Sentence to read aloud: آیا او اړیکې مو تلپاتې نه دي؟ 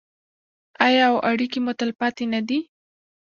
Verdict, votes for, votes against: rejected, 0, 2